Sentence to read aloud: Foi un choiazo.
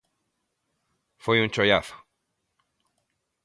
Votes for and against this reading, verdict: 2, 0, accepted